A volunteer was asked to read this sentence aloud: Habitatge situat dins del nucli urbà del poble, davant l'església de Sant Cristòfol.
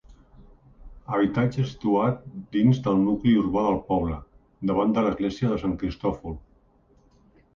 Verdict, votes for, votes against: rejected, 1, 2